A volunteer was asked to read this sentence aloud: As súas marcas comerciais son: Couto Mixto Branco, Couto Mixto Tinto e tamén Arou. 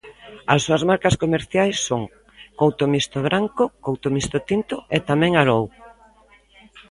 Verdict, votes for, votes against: accepted, 2, 0